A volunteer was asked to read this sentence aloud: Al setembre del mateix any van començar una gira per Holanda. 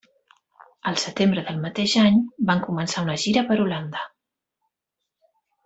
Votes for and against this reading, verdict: 3, 0, accepted